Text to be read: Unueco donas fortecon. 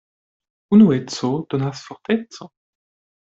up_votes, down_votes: 1, 2